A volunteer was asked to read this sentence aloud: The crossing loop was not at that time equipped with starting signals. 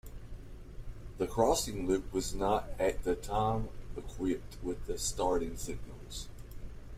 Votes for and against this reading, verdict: 2, 0, accepted